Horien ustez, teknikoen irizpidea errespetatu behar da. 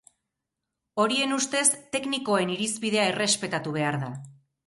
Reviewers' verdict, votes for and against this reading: accepted, 4, 0